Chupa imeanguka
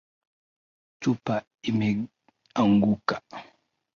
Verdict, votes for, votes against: accepted, 2, 0